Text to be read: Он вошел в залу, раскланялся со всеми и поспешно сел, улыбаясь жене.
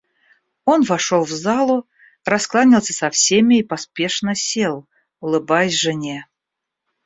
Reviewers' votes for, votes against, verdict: 2, 0, accepted